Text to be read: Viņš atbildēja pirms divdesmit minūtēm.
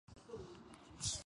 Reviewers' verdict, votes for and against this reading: rejected, 0, 2